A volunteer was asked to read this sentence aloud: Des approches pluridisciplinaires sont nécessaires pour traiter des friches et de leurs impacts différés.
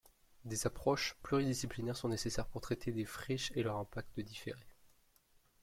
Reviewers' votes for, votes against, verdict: 2, 1, accepted